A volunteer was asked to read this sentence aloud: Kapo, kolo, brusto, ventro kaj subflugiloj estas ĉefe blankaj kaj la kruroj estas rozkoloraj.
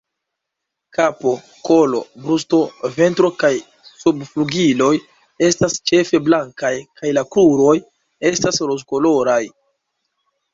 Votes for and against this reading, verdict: 2, 1, accepted